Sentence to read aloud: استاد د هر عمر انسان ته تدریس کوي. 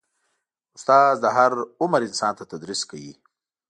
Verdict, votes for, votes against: accepted, 3, 0